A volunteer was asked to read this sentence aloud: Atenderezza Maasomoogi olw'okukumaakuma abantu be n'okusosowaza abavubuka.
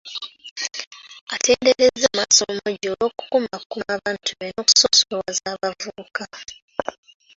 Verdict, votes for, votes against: rejected, 0, 2